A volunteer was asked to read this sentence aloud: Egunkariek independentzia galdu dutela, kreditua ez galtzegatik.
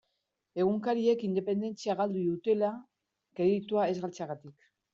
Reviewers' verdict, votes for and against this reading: accepted, 2, 0